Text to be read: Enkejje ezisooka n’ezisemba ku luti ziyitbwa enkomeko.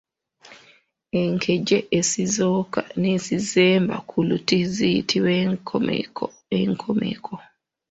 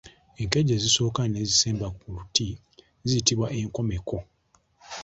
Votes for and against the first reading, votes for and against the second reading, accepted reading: 1, 2, 2, 0, second